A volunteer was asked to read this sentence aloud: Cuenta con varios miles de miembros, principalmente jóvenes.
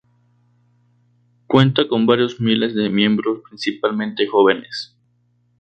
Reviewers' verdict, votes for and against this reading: rejected, 2, 2